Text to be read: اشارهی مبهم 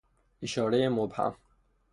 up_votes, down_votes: 3, 0